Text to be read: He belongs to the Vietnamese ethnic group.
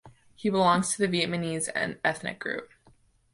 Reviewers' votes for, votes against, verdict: 1, 2, rejected